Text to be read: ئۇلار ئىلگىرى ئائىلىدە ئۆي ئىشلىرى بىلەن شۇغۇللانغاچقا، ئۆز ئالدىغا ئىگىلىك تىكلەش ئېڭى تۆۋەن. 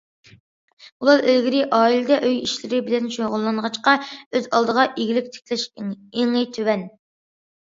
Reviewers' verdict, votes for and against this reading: accepted, 2, 0